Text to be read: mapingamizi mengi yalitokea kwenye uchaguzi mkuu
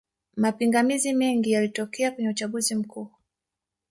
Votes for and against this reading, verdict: 4, 0, accepted